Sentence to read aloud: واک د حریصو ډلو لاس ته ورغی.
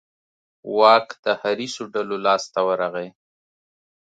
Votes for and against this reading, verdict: 2, 0, accepted